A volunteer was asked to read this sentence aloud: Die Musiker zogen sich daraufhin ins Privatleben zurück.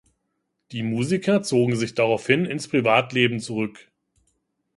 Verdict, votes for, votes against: accepted, 2, 0